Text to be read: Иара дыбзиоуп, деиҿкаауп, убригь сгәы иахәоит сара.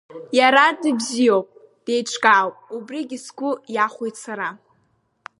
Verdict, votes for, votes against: accepted, 2, 0